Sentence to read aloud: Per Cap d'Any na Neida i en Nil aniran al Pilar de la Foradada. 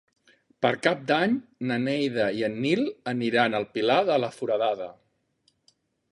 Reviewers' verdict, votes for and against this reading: accepted, 2, 0